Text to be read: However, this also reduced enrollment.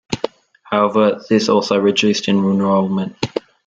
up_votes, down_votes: 2, 0